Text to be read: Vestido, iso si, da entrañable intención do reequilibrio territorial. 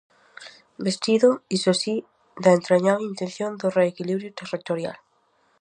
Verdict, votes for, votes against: accepted, 4, 0